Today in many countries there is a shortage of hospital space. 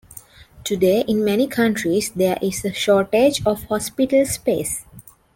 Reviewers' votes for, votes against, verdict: 2, 0, accepted